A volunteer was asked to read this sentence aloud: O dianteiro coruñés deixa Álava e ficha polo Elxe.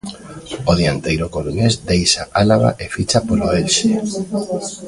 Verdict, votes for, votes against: accepted, 2, 0